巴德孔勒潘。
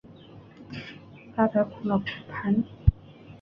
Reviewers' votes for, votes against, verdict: 2, 3, rejected